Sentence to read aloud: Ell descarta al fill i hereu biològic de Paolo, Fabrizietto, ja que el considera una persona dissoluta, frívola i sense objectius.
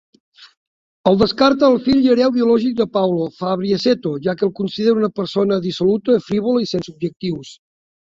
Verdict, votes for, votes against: rejected, 0, 2